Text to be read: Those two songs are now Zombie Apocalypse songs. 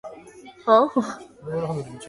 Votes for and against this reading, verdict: 0, 2, rejected